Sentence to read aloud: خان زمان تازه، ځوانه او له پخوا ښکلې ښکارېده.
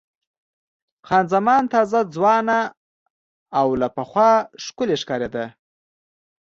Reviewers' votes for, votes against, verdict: 2, 0, accepted